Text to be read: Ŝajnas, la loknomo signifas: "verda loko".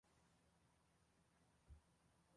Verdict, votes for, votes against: rejected, 1, 2